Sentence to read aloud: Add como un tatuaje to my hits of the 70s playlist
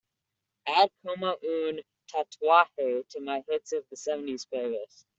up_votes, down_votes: 0, 2